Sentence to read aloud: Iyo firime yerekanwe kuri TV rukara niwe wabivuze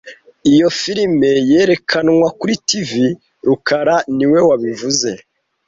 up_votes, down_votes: 1, 2